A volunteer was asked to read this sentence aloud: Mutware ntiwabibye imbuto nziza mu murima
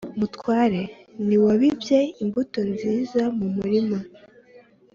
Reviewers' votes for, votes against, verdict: 2, 0, accepted